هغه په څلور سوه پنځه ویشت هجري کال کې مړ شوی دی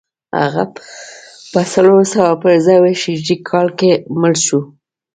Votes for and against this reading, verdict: 0, 2, rejected